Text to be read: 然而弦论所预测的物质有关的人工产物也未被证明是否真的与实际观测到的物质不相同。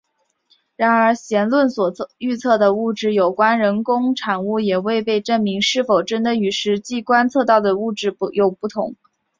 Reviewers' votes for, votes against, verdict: 0, 4, rejected